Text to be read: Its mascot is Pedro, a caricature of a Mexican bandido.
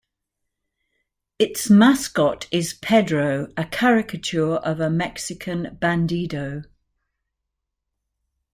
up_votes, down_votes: 2, 0